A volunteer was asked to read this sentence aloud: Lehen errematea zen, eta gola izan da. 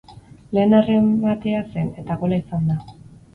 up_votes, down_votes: 4, 2